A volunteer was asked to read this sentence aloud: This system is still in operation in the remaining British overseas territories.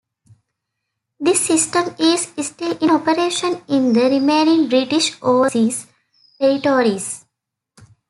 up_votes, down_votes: 1, 2